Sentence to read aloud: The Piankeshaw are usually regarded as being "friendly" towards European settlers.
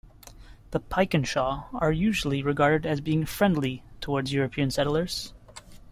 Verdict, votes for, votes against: rejected, 1, 2